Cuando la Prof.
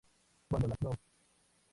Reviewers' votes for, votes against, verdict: 2, 0, accepted